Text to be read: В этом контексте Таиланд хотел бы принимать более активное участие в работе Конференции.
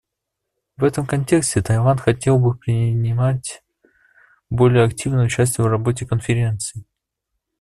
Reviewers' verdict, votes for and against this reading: accepted, 2, 0